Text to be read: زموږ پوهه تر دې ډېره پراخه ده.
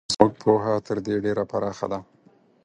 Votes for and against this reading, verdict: 4, 0, accepted